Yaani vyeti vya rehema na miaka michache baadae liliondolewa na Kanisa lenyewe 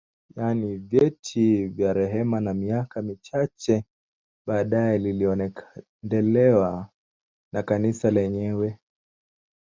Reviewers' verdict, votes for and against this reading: rejected, 1, 2